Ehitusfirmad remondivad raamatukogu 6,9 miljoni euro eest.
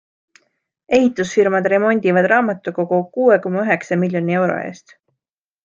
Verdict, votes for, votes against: rejected, 0, 2